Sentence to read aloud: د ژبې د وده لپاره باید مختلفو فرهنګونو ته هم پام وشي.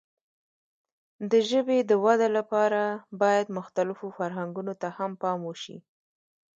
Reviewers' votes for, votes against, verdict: 1, 2, rejected